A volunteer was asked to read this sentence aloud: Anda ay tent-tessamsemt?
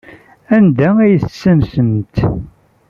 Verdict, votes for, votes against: rejected, 1, 2